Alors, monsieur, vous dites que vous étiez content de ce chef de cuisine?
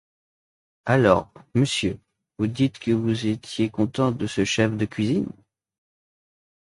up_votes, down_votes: 2, 0